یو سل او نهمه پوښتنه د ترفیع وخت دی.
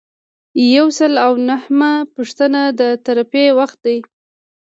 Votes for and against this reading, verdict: 2, 0, accepted